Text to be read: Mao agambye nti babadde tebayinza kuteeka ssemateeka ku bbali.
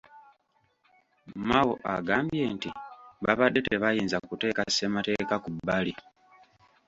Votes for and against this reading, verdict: 2, 0, accepted